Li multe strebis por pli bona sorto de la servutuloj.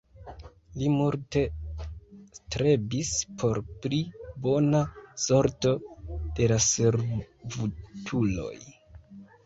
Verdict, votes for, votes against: rejected, 1, 2